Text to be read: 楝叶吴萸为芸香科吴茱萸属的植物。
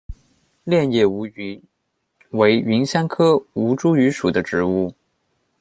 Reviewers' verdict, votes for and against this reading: rejected, 1, 2